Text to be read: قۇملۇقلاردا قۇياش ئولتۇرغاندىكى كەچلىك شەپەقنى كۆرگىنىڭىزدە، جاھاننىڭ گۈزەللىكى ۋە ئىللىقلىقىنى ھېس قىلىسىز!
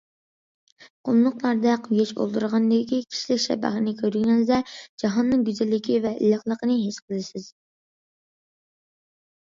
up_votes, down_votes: 0, 2